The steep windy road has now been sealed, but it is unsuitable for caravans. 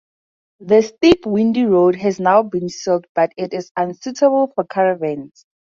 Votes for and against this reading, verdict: 4, 0, accepted